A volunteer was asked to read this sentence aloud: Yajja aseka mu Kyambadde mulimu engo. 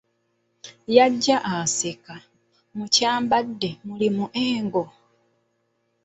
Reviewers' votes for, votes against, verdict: 1, 2, rejected